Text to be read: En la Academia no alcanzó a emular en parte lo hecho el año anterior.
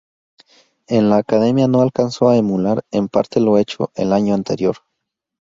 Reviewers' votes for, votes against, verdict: 4, 0, accepted